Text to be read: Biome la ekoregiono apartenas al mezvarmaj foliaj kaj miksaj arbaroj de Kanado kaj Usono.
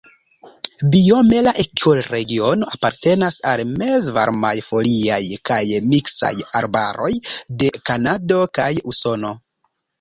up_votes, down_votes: 0, 2